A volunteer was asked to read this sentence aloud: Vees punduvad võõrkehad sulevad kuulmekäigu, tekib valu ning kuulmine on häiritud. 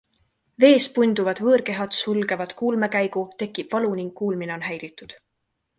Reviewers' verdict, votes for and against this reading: rejected, 1, 2